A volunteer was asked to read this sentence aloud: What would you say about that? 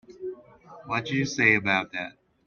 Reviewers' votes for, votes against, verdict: 0, 2, rejected